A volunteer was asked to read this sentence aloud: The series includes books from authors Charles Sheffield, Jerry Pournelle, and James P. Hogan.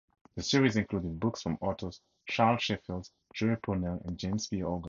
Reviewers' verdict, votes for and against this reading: rejected, 0, 2